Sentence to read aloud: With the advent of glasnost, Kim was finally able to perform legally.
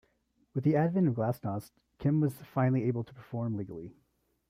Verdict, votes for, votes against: accepted, 2, 0